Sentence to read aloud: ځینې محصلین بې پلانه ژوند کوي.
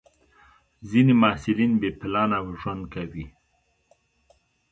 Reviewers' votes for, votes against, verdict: 2, 0, accepted